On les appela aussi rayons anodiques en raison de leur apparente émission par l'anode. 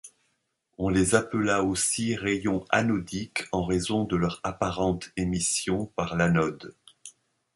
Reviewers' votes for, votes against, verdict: 2, 0, accepted